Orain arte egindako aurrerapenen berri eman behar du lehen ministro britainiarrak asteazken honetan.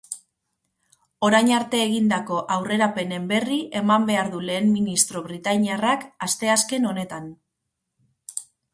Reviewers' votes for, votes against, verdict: 4, 0, accepted